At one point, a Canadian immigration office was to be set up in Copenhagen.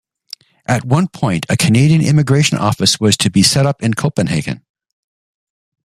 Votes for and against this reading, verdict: 2, 0, accepted